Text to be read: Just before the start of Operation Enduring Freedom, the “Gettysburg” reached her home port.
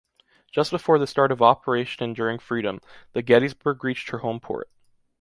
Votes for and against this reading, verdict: 2, 0, accepted